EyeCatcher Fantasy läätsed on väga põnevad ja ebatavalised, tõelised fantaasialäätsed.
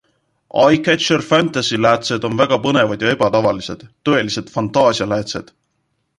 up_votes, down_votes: 2, 0